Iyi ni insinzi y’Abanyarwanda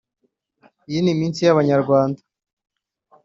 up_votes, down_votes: 1, 2